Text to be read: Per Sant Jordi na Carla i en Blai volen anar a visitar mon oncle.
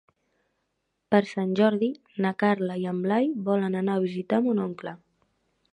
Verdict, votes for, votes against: accepted, 3, 0